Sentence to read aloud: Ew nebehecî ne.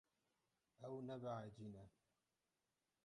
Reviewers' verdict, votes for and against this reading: rejected, 0, 6